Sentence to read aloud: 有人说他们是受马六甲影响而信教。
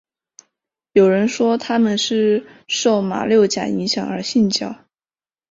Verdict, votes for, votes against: accepted, 7, 0